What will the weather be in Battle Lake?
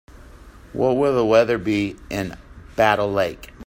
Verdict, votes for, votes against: accepted, 2, 0